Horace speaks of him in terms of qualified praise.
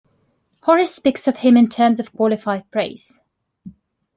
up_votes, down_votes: 2, 0